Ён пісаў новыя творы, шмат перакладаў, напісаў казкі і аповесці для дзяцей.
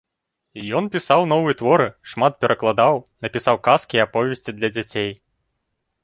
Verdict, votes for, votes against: accepted, 2, 0